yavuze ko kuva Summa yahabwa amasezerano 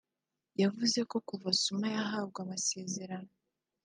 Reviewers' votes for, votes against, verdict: 2, 0, accepted